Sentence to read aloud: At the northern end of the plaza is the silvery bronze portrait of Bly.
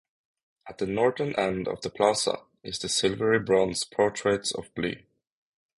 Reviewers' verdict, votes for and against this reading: rejected, 0, 3